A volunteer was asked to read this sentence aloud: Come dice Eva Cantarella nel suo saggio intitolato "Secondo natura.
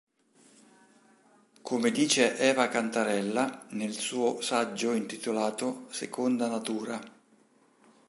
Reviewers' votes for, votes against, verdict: 0, 2, rejected